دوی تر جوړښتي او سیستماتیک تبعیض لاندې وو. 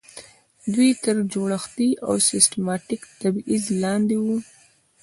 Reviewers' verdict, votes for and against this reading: accepted, 2, 0